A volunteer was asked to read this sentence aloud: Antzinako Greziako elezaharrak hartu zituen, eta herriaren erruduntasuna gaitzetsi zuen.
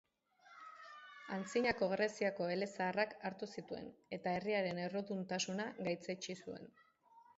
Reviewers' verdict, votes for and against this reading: accepted, 3, 1